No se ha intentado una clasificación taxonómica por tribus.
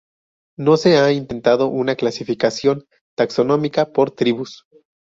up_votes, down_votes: 2, 0